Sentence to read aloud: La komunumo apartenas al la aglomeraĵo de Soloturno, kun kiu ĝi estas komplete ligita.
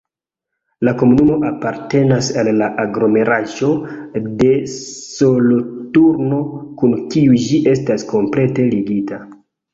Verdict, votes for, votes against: accepted, 2, 1